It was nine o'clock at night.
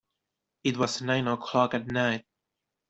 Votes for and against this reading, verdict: 2, 0, accepted